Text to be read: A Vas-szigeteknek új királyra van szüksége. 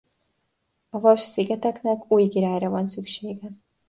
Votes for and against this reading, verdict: 2, 0, accepted